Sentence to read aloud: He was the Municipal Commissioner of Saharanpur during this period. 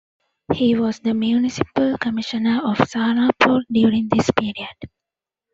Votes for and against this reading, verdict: 1, 2, rejected